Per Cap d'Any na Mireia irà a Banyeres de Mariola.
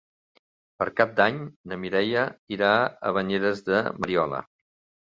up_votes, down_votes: 3, 0